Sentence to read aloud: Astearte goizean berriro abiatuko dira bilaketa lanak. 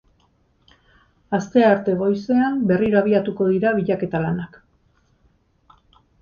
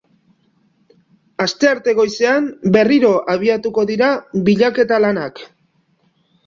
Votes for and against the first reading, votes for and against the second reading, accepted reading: 0, 2, 2, 0, second